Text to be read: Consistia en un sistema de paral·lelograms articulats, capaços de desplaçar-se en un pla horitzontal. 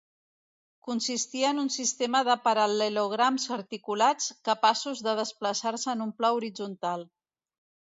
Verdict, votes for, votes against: accepted, 2, 0